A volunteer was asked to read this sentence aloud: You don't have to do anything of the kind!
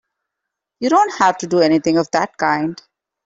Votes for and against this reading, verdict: 0, 2, rejected